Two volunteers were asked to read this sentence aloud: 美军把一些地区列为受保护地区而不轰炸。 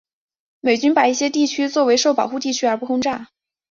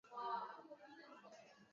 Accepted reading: first